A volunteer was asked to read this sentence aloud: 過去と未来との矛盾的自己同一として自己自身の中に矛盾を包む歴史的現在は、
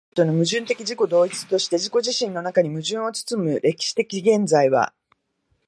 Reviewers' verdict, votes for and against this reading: rejected, 1, 7